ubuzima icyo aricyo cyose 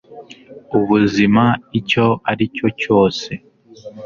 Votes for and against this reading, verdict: 2, 0, accepted